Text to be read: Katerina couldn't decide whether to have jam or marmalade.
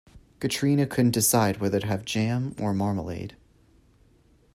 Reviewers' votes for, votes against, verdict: 2, 1, accepted